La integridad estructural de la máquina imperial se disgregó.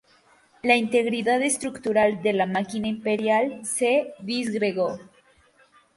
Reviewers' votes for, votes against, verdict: 2, 0, accepted